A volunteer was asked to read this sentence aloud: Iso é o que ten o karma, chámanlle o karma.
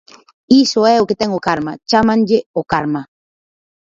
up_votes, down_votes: 4, 0